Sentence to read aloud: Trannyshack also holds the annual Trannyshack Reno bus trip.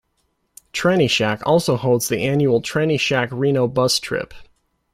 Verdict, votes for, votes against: accepted, 2, 0